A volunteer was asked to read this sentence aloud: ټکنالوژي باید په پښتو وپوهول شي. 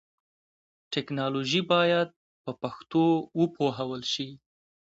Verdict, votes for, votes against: accepted, 2, 0